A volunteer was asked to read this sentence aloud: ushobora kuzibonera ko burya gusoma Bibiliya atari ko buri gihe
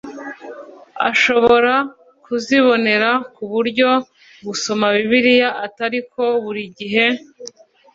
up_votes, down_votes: 0, 2